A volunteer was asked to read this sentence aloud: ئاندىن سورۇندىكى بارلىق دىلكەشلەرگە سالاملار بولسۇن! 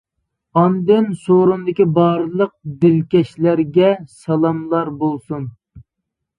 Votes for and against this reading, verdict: 3, 0, accepted